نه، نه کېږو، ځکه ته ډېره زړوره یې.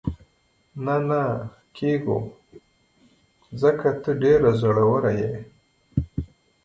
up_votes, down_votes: 0, 3